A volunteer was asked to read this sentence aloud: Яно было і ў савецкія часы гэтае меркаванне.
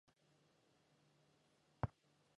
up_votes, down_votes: 0, 3